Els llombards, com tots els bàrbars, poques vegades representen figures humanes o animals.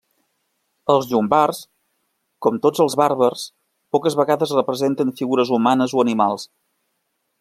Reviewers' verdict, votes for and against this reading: accepted, 2, 0